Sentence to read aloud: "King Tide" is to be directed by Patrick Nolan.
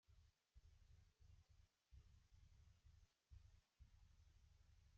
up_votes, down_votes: 0, 2